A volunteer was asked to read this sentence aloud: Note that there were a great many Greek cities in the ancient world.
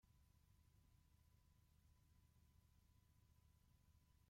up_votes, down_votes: 0, 2